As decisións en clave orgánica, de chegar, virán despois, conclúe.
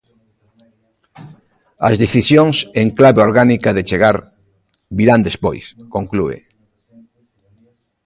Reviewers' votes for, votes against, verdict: 2, 0, accepted